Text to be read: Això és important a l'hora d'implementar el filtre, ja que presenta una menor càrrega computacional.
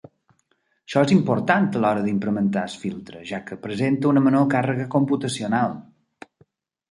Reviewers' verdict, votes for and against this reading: rejected, 0, 2